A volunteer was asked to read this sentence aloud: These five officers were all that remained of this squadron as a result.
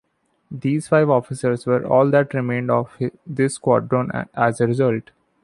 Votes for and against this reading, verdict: 1, 2, rejected